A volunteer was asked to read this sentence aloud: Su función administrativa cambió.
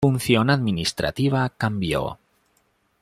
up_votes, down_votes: 0, 2